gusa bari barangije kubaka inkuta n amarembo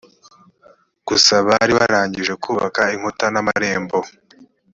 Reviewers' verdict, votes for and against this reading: accepted, 3, 0